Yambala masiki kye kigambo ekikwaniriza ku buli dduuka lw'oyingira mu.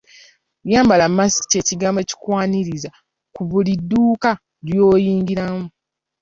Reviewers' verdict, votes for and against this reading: accepted, 2, 0